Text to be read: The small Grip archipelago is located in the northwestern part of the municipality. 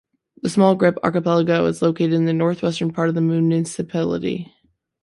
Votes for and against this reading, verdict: 2, 0, accepted